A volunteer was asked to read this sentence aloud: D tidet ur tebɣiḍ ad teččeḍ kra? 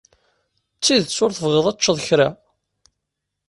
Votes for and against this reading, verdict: 2, 0, accepted